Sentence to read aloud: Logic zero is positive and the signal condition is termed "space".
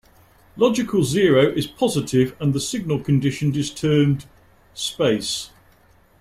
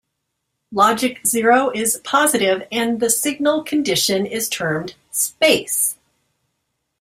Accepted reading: second